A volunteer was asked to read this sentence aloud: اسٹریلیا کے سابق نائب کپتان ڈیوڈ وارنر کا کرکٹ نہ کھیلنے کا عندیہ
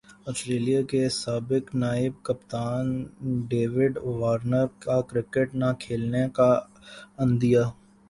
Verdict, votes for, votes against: accepted, 15, 1